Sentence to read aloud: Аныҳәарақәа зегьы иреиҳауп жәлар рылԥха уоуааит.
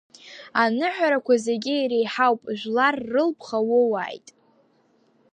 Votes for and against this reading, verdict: 2, 0, accepted